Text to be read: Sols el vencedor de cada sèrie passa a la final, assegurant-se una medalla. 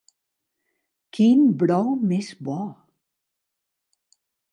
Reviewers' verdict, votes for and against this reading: rejected, 0, 3